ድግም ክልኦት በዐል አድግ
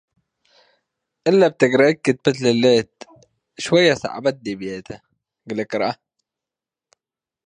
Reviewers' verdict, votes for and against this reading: rejected, 0, 2